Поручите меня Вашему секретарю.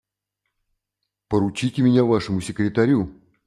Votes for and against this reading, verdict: 3, 0, accepted